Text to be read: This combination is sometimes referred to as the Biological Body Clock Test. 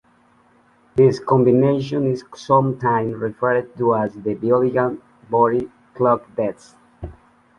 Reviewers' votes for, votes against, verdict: 2, 0, accepted